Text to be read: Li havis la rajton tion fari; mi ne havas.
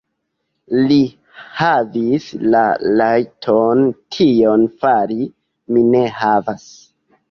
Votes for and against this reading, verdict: 2, 0, accepted